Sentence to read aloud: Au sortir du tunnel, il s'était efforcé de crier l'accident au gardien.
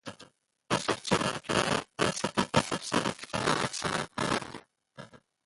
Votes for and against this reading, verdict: 0, 2, rejected